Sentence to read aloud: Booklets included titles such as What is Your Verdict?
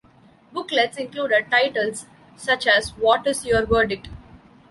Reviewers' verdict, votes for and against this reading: accepted, 2, 0